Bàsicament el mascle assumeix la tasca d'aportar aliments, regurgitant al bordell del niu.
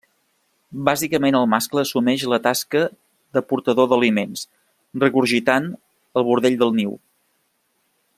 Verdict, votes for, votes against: rejected, 0, 2